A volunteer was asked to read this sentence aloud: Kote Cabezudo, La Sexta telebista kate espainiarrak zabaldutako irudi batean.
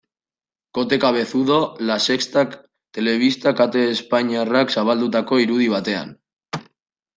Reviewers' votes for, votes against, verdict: 2, 0, accepted